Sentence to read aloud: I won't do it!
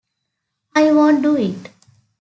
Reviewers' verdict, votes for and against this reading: accepted, 2, 0